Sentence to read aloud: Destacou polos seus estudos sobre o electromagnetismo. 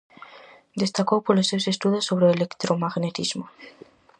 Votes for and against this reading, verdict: 4, 0, accepted